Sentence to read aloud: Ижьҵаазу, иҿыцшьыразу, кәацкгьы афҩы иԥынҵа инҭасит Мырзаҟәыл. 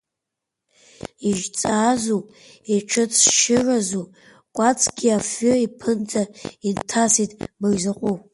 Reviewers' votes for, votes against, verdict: 2, 1, accepted